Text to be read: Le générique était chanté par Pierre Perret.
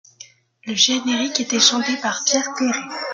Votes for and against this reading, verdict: 1, 2, rejected